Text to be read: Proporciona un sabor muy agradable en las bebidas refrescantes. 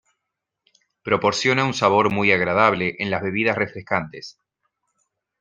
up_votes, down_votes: 3, 2